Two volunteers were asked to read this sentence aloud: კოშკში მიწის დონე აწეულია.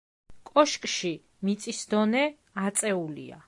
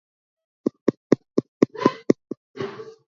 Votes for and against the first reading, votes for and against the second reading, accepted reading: 2, 0, 1, 2, first